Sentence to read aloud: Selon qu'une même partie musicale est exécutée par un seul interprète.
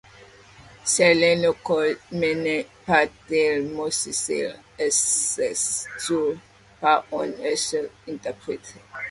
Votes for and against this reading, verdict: 0, 2, rejected